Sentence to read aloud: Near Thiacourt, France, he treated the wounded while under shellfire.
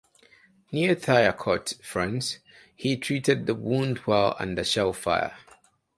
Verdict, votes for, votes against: rejected, 0, 2